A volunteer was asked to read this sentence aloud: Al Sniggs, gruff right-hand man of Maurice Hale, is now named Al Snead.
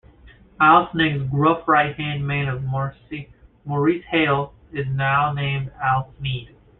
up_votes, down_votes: 1, 2